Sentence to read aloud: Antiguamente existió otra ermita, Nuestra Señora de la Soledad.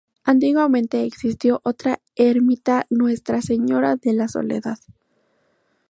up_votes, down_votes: 2, 0